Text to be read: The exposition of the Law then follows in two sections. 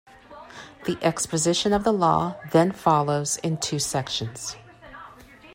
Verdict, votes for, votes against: rejected, 0, 2